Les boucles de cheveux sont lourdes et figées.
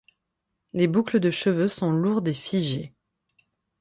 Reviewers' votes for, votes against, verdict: 6, 0, accepted